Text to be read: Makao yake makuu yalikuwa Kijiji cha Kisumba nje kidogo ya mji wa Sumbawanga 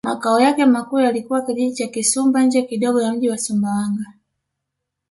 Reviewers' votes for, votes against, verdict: 0, 2, rejected